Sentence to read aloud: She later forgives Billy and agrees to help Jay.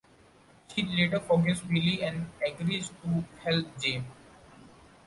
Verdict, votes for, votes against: accepted, 2, 0